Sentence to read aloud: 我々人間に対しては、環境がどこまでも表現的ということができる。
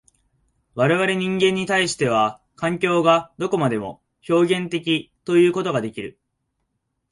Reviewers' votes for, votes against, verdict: 5, 2, accepted